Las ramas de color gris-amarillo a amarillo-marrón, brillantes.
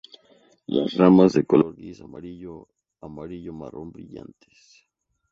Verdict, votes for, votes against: rejected, 2, 2